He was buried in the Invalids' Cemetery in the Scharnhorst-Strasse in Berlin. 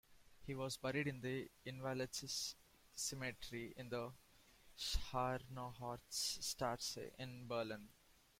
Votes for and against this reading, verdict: 0, 2, rejected